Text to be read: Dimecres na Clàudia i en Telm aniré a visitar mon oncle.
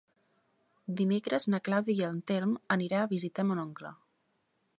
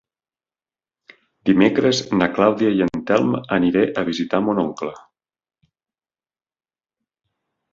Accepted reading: second